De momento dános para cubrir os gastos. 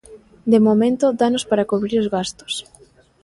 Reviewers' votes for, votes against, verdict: 2, 0, accepted